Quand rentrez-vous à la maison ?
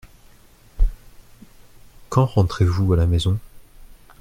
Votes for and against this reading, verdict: 2, 0, accepted